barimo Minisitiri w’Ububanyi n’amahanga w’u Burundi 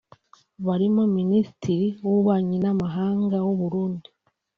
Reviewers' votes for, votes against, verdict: 2, 0, accepted